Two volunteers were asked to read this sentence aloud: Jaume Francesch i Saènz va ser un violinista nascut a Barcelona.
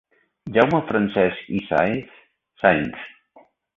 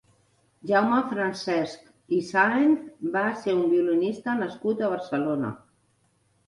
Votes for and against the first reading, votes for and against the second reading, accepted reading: 0, 2, 3, 0, second